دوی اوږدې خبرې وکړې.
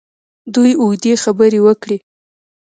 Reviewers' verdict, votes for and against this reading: rejected, 1, 2